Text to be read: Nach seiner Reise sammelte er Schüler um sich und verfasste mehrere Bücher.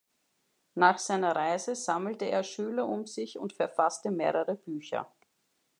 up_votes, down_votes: 2, 0